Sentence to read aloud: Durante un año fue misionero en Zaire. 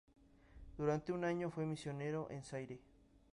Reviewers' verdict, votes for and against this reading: accepted, 2, 0